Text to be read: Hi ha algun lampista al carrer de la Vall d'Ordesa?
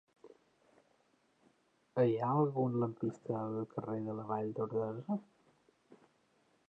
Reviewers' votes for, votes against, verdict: 0, 2, rejected